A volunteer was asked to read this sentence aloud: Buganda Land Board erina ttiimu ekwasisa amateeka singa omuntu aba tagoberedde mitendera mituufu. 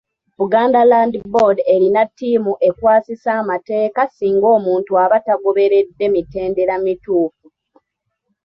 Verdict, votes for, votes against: accepted, 2, 0